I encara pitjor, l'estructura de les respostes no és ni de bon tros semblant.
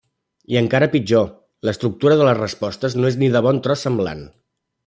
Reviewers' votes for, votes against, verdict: 3, 0, accepted